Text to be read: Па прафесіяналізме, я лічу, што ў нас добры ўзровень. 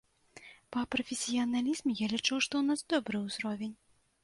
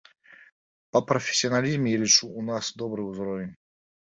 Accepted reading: first